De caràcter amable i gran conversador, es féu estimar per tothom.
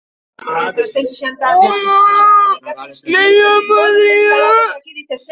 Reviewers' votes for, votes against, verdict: 0, 2, rejected